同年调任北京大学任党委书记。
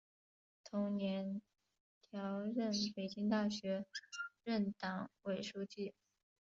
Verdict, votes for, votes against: accepted, 3, 1